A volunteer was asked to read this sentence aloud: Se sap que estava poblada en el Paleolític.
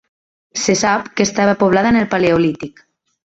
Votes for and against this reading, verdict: 3, 1, accepted